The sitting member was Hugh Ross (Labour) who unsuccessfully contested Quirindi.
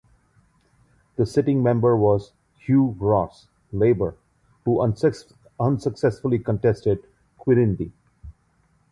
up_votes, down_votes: 0, 2